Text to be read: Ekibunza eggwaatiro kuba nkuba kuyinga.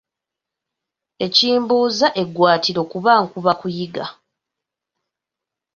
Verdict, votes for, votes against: accepted, 2, 1